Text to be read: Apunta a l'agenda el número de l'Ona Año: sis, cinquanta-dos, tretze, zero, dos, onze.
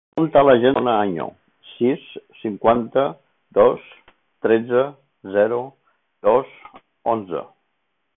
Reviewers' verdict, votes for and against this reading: rejected, 0, 3